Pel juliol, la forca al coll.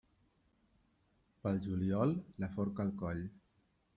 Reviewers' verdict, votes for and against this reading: accepted, 2, 0